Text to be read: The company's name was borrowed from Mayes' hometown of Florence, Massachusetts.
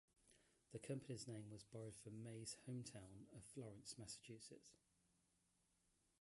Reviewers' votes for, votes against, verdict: 1, 2, rejected